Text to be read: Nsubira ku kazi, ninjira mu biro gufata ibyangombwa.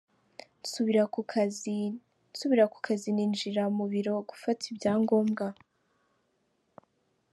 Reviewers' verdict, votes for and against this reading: rejected, 0, 2